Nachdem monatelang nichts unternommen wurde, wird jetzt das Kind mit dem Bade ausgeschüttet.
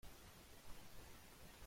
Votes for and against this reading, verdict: 0, 2, rejected